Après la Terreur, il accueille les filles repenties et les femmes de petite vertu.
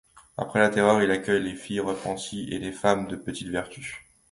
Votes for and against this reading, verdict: 2, 0, accepted